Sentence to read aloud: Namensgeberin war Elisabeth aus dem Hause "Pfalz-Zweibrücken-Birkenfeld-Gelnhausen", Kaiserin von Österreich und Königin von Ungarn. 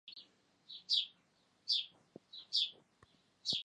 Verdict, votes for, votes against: rejected, 0, 2